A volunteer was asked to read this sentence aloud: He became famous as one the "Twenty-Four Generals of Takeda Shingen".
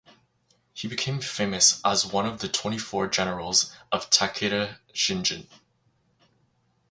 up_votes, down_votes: 2, 2